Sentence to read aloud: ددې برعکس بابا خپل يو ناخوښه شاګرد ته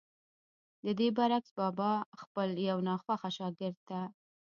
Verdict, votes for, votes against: accepted, 2, 1